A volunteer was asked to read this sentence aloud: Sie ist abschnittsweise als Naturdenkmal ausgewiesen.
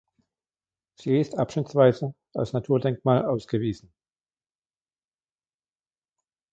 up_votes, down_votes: 2, 0